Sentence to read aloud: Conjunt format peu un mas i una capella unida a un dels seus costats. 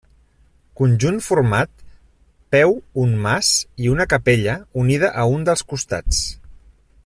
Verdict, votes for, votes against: rejected, 0, 2